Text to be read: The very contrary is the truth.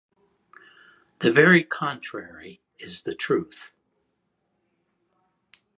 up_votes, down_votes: 2, 0